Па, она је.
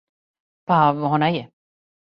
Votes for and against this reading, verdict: 2, 0, accepted